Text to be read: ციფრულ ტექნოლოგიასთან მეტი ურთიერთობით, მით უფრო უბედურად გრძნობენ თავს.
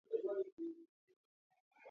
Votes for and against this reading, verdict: 0, 2, rejected